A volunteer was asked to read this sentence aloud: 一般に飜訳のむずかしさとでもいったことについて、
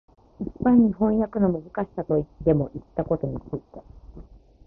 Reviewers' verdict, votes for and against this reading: accepted, 3, 0